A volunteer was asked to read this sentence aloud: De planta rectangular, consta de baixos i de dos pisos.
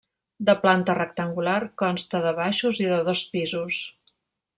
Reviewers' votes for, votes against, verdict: 1, 2, rejected